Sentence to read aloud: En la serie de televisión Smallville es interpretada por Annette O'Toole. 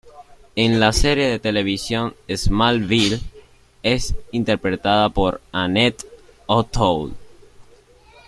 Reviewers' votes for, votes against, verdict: 2, 0, accepted